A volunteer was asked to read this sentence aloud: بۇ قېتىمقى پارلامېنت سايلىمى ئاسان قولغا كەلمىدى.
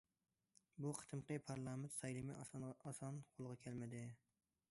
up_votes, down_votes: 1, 2